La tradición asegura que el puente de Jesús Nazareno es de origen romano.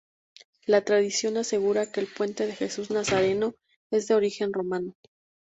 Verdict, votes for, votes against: rejected, 0, 2